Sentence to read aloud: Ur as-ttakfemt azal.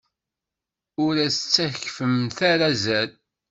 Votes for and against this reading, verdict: 1, 2, rejected